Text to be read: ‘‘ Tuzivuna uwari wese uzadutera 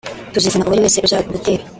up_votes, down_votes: 0, 2